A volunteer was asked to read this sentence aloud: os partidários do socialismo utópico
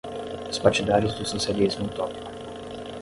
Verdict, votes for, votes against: accepted, 5, 0